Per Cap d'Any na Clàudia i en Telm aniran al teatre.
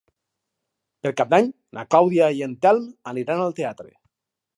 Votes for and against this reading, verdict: 0, 2, rejected